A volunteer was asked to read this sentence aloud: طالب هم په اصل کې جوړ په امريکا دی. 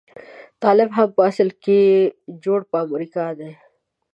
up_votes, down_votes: 2, 0